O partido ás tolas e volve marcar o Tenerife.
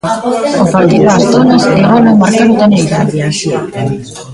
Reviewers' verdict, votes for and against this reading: rejected, 0, 2